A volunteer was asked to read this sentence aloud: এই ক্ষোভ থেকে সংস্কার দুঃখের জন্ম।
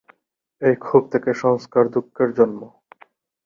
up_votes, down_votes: 2, 0